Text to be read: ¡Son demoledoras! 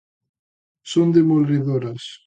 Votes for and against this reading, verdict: 2, 1, accepted